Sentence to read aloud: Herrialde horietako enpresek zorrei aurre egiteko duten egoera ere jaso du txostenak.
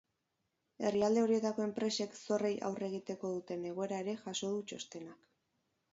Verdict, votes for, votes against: accepted, 4, 0